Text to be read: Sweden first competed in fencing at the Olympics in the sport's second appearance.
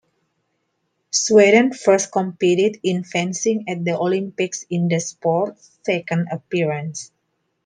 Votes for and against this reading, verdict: 2, 0, accepted